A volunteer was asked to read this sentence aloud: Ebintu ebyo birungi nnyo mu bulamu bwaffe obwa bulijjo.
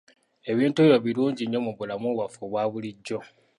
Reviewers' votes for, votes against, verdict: 2, 0, accepted